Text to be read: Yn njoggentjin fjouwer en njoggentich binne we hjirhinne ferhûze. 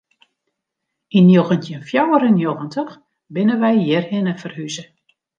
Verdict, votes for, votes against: accepted, 2, 0